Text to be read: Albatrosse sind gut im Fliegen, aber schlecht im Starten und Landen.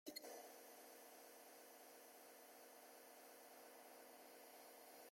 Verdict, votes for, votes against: rejected, 0, 2